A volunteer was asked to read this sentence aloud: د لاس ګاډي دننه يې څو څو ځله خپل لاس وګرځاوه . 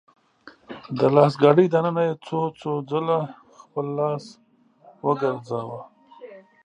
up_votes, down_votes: 0, 2